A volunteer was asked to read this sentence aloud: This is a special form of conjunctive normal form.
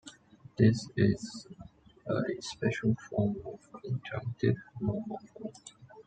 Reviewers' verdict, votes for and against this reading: rejected, 1, 2